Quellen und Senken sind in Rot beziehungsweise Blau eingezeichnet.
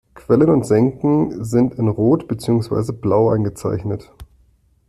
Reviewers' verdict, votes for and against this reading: accepted, 2, 0